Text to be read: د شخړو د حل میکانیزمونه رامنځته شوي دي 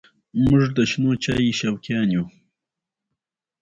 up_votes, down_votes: 2, 0